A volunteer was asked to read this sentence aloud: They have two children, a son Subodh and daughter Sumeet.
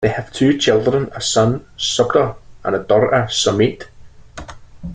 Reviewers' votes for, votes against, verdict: 1, 2, rejected